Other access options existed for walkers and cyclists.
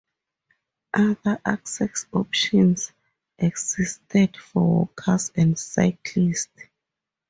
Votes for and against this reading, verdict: 4, 0, accepted